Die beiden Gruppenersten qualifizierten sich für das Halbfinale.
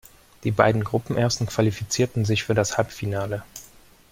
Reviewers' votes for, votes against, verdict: 2, 0, accepted